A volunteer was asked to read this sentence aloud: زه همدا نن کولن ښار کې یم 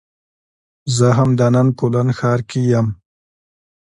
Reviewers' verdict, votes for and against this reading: accepted, 2, 0